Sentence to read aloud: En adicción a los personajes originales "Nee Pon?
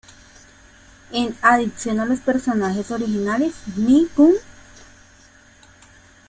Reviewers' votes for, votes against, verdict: 2, 0, accepted